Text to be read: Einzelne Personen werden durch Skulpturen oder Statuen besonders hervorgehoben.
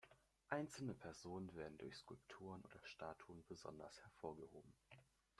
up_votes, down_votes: 2, 1